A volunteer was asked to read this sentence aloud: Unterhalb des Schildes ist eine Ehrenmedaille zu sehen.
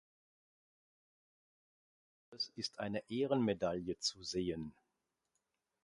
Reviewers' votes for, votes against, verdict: 0, 2, rejected